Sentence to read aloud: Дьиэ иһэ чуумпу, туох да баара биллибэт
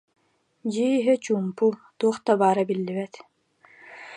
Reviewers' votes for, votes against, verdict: 2, 1, accepted